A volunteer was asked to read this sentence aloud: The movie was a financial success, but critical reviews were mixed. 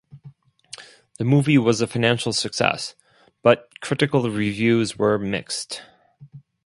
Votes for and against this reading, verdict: 2, 2, rejected